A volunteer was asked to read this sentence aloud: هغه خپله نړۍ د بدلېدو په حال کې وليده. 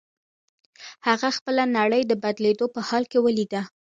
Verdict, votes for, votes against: rejected, 0, 2